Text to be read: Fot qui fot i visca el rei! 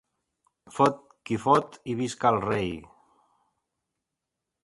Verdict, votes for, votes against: accepted, 2, 0